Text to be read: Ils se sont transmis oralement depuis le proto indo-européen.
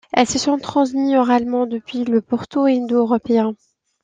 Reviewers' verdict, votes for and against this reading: rejected, 0, 2